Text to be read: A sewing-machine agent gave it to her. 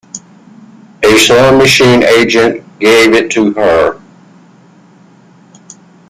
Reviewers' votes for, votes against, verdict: 1, 2, rejected